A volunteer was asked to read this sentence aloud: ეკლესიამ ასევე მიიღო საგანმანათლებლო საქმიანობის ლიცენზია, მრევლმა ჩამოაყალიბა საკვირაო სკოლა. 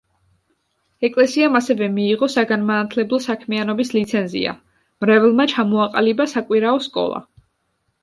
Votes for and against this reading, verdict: 2, 0, accepted